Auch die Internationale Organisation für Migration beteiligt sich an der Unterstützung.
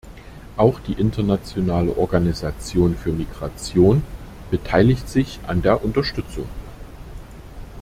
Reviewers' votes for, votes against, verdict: 2, 0, accepted